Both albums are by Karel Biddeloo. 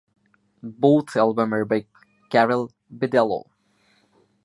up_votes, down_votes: 1, 2